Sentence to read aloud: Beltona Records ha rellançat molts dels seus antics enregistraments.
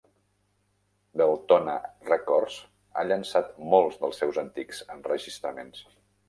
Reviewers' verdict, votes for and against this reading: rejected, 0, 2